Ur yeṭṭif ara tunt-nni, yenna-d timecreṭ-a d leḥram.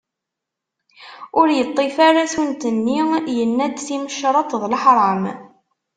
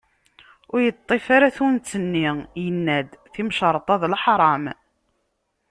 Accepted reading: second